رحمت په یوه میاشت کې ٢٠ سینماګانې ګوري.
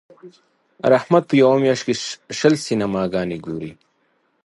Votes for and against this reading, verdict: 0, 2, rejected